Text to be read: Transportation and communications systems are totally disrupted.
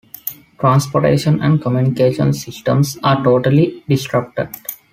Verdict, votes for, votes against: accepted, 2, 0